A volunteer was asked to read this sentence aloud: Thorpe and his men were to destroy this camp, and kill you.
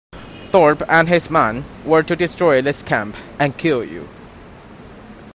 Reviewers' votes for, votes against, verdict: 2, 0, accepted